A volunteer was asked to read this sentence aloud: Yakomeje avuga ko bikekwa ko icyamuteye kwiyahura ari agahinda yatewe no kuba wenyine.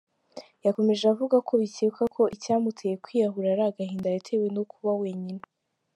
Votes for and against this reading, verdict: 2, 1, accepted